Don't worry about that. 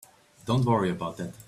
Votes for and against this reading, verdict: 2, 1, accepted